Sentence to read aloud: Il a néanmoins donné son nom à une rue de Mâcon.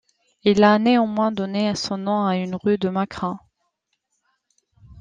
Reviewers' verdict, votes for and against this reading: rejected, 1, 2